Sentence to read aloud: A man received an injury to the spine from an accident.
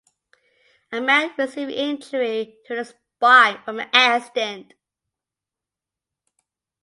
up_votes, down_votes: 0, 2